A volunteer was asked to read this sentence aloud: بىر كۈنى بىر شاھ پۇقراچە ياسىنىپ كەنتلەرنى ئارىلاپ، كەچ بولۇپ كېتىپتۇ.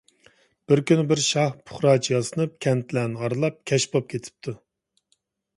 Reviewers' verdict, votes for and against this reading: accepted, 2, 0